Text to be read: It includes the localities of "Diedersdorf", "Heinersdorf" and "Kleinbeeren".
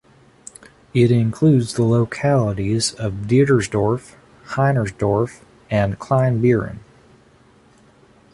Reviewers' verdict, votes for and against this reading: accepted, 3, 0